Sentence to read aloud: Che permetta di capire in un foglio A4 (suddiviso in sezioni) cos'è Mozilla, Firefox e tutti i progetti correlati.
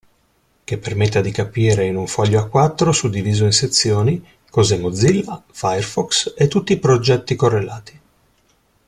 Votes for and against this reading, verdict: 0, 2, rejected